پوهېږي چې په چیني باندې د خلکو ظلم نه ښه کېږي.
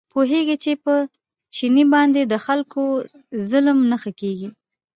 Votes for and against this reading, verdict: 2, 0, accepted